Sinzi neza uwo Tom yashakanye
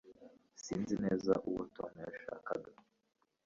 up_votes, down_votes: 1, 2